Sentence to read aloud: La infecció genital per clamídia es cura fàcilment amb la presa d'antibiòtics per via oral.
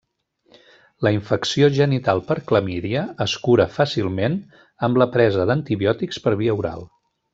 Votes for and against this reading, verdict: 3, 0, accepted